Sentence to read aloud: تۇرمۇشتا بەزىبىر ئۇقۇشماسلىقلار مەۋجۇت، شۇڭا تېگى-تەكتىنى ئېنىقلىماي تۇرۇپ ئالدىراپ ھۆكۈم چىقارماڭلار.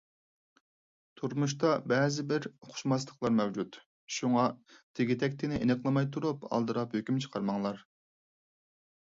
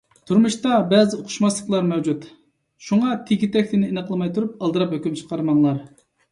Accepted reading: first